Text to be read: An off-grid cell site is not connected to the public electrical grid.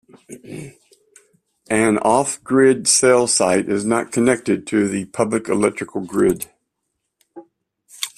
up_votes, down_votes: 2, 0